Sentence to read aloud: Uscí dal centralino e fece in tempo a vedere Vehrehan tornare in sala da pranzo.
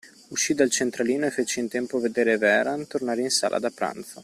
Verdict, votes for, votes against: accepted, 2, 0